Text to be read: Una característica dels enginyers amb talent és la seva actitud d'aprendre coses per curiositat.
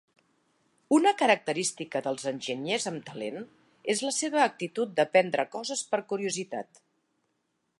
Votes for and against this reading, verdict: 3, 0, accepted